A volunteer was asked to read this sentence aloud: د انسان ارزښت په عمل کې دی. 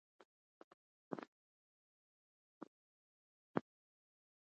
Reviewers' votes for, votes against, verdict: 0, 2, rejected